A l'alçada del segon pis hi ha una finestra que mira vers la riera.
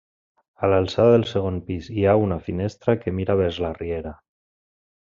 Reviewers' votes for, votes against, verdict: 2, 0, accepted